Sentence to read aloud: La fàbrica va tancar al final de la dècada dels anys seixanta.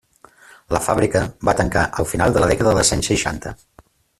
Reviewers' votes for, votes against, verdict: 2, 1, accepted